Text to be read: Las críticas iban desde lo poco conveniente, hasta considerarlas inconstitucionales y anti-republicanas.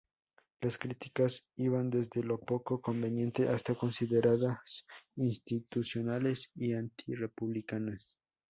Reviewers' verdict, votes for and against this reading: rejected, 2, 2